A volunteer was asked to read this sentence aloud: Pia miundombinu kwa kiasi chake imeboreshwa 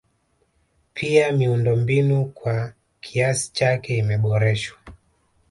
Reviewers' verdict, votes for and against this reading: rejected, 0, 2